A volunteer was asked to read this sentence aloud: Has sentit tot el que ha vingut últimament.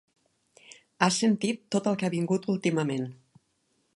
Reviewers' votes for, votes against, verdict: 4, 0, accepted